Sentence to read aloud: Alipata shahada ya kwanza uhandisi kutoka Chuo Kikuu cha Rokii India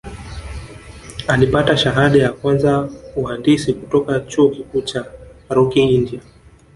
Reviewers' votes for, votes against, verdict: 0, 2, rejected